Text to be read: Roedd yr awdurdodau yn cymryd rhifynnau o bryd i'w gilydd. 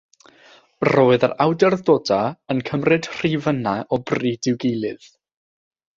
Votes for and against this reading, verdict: 6, 0, accepted